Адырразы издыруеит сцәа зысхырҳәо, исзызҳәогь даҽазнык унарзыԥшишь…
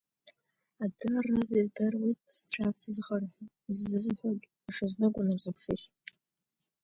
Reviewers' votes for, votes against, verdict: 1, 2, rejected